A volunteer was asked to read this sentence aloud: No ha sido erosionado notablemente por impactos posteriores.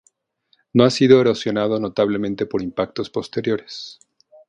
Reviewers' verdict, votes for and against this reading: rejected, 2, 2